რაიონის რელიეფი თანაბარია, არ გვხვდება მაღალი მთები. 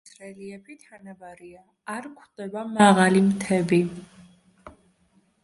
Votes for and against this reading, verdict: 0, 2, rejected